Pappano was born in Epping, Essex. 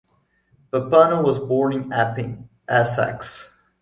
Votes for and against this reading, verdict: 2, 0, accepted